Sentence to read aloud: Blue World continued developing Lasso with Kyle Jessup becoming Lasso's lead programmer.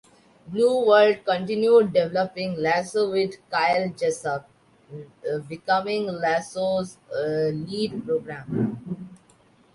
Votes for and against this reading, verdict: 0, 2, rejected